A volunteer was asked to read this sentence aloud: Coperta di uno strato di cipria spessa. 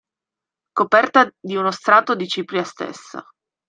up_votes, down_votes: 1, 2